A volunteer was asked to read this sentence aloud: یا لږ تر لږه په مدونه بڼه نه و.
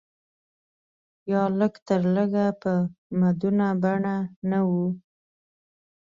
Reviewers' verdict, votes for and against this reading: accepted, 2, 0